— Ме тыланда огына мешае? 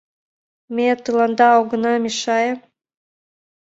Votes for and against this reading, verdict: 2, 0, accepted